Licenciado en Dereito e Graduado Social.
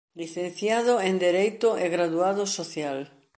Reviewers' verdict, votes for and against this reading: accepted, 2, 0